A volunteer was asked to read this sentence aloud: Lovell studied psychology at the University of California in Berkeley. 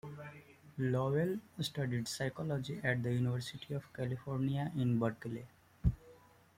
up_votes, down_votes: 2, 0